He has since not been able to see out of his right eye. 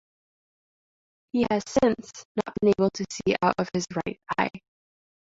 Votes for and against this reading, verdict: 0, 2, rejected